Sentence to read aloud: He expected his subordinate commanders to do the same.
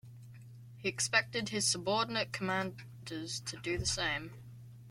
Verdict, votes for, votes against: rejected, 0, 2